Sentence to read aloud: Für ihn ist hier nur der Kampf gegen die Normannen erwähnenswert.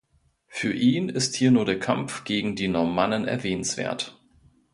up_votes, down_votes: 2, 0